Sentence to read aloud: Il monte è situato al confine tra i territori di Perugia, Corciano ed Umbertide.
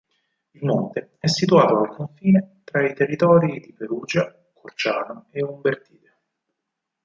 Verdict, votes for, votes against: rejected, 2, 4